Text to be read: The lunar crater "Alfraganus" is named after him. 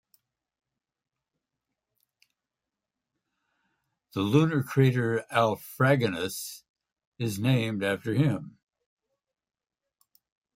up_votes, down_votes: 2, 0